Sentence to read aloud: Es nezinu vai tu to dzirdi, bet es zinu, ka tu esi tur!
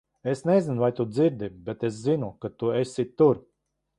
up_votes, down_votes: 0, 2